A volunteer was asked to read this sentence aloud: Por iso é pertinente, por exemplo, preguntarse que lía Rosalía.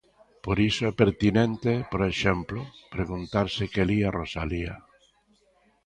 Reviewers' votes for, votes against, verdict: 1, 2, rejected